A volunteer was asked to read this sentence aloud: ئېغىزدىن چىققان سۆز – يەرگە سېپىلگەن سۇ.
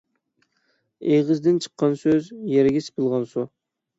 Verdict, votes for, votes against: rejected, 0, 6